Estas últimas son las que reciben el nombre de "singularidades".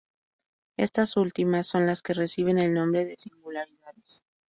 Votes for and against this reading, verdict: 2, 0, accepted